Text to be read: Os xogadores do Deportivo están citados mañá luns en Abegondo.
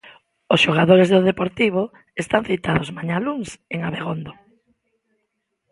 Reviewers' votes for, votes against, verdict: 2, 0, accepted